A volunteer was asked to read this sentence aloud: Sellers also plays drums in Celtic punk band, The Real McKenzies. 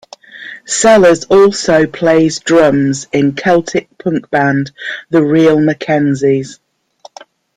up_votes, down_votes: 1, 2